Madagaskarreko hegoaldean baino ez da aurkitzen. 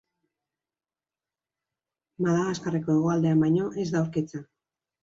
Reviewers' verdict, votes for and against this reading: accepted, 2, 0